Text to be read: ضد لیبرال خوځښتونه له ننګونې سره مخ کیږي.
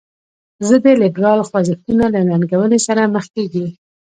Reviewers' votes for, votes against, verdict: 1, 2, rejected